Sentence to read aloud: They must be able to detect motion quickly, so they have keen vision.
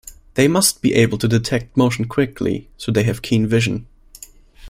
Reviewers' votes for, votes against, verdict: 2, 0, accepted